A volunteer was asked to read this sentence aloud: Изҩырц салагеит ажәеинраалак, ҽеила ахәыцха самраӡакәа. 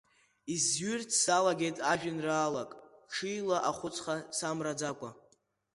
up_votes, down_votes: 2, 0